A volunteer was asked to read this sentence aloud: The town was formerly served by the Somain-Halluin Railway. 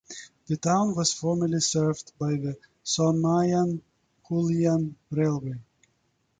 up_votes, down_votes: 2, 0